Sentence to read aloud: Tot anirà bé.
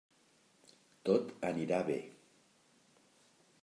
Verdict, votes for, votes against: rejected, 1, 2